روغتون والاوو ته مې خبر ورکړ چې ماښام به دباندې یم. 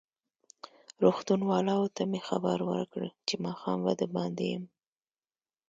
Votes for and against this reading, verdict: 2, 0, accepted